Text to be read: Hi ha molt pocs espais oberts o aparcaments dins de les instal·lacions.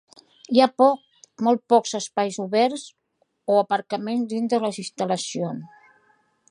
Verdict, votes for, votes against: rejected, 0, 2